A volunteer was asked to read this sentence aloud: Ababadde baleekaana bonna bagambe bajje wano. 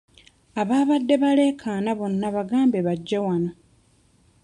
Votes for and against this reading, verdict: 2, 0, accepted